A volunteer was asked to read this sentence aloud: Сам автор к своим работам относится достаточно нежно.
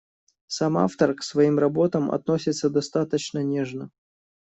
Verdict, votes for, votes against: accepted, 2, 0